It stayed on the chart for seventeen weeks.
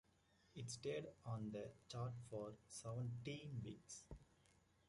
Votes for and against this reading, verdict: 2, 0, accepted